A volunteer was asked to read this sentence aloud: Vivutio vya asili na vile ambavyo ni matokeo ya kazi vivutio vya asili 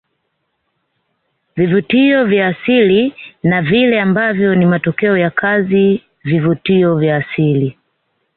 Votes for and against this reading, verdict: 2, 0, accepted